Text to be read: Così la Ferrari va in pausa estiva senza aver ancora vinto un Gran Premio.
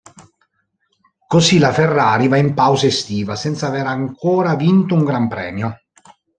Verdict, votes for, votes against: accepted, 2, 0